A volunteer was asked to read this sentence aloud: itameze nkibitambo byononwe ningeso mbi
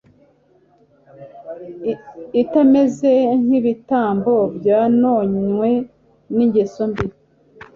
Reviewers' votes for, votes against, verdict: 2, 0, accepted